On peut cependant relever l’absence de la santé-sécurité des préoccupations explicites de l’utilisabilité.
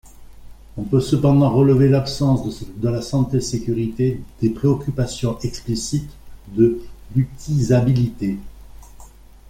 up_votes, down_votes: 1, 2